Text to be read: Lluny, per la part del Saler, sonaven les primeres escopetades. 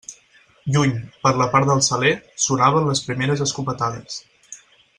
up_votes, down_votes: 6, 0